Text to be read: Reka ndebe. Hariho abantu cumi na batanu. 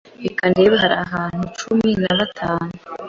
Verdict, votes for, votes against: rejected, 0, 2